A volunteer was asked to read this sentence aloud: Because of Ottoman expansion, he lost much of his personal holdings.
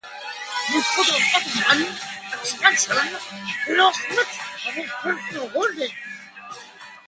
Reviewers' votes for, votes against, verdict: 1, 2, rejected